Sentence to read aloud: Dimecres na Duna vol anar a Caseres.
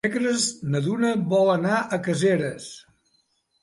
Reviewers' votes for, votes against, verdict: 2, 4, rejected